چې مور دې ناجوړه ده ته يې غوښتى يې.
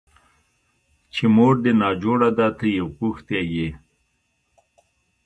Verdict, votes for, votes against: accepted, 2, 1